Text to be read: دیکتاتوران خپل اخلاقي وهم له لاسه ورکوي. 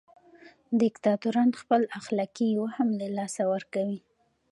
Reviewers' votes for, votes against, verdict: 2, 0, accepted